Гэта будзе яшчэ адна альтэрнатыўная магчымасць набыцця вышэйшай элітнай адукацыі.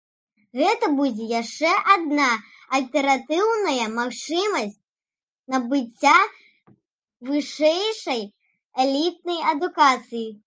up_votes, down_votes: 0, 2